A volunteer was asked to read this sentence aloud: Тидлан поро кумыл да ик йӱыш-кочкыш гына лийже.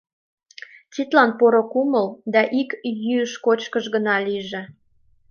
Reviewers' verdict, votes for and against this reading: accepted, 2, 0